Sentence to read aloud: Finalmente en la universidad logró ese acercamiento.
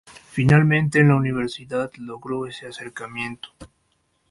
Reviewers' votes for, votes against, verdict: 2, 0, accepted